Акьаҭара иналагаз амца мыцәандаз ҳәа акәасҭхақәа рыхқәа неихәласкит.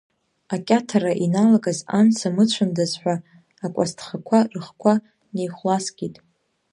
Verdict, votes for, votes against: accepted, 2, 0